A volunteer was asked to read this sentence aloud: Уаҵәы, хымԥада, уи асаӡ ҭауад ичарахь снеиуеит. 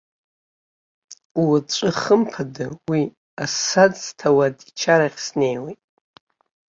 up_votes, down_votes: 2, 0